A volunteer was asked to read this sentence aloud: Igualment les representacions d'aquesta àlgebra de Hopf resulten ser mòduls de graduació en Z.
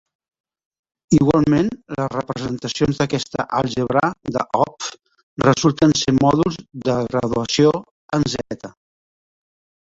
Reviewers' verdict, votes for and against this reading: accepted, 2, 0